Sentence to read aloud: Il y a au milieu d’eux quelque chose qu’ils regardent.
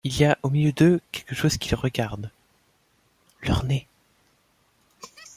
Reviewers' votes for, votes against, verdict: 1, 2, rejected